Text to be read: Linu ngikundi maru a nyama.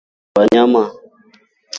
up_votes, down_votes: 0, 3